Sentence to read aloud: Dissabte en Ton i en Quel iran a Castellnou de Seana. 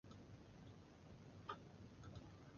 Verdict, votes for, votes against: rejected, 0, 2